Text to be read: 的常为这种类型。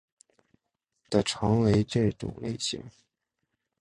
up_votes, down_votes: 2, 0